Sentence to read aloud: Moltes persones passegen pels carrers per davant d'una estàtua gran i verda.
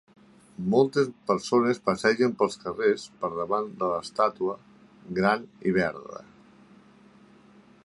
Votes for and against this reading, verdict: 0, 3, rejected